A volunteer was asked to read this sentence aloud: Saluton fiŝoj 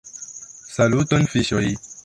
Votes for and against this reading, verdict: 2, 0, accepted